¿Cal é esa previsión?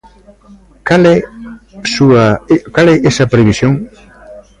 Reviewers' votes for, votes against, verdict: 0, 2, rejected